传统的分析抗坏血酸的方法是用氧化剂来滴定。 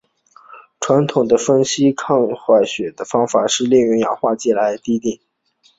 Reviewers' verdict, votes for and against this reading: accepted, 2, 0